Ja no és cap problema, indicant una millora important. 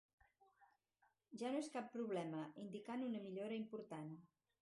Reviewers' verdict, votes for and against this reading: accepted, 4, 0